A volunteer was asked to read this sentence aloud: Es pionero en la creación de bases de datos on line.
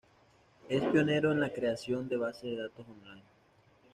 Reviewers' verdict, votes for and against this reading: rejected, 1, 2